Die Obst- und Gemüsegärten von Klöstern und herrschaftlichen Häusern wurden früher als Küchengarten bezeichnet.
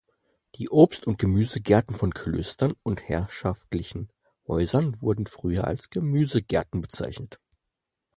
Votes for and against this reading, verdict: 0, 4, rejected